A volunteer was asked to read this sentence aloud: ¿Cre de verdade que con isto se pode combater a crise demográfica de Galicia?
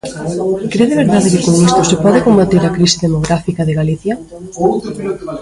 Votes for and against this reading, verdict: 0, 2, rejected